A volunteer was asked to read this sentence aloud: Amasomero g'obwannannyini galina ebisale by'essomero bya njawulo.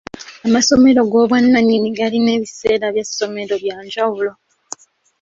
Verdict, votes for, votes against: rejected, 1, 2